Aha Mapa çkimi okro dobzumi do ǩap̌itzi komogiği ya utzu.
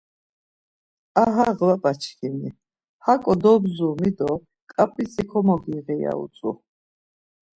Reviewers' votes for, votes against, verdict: 0, 2, rejected